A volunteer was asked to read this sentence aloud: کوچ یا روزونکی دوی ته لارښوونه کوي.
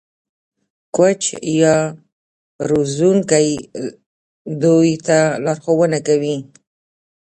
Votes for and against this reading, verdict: 0, 2, rejected